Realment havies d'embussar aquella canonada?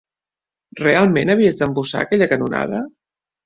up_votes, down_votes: 2, 0